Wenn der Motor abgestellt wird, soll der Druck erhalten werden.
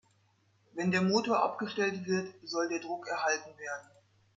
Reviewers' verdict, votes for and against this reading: accepted, 6, 0